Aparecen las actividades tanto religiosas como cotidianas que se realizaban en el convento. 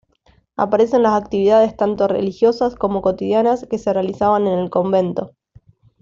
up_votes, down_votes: 2, 0